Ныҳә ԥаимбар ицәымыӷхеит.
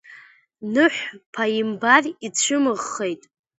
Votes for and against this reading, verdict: 1, 2, rejected